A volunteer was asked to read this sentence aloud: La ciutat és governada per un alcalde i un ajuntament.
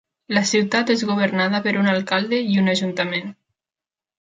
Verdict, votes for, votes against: accepted, 3, 0